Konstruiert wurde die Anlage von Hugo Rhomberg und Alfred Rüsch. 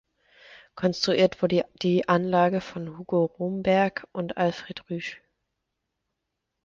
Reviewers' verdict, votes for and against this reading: rejected, 1, 2